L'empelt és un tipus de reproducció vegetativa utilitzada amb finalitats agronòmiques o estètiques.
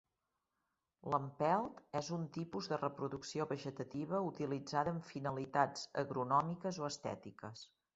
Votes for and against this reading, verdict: 2, 0, accepted